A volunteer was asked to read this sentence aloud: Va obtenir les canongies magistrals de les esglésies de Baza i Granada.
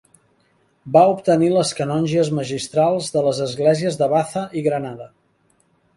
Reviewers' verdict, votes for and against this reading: rejected, 1, 2